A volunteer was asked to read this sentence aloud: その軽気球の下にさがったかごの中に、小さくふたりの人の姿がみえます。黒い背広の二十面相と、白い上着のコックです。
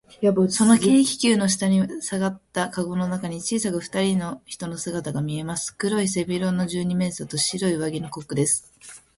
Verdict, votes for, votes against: accepted, 5, 1